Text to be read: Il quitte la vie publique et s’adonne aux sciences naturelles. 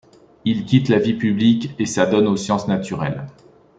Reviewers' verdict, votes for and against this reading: accepted, 2, 0